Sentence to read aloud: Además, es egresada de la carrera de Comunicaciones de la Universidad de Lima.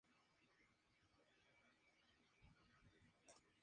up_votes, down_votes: 2, 0